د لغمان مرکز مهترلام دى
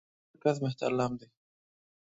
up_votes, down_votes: 0, 2